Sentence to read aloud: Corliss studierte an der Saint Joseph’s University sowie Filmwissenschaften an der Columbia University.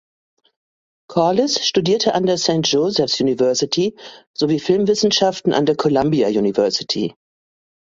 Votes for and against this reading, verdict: 2, 0, accepted